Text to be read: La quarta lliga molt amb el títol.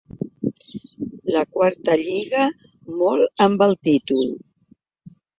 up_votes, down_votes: 3, 0